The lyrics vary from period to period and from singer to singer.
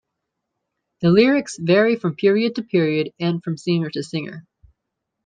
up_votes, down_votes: 2, 0